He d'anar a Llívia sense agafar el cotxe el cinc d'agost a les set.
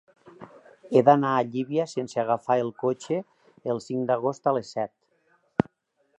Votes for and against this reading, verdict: 3, 0, accepted